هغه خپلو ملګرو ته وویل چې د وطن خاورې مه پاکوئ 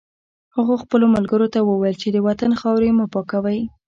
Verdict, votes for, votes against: rejected, 0, 2